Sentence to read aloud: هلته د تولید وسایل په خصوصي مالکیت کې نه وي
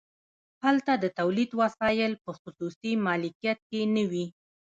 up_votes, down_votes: 2, 0